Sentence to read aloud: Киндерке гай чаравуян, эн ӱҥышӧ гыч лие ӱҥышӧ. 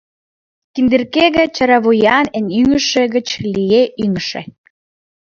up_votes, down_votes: 0, 3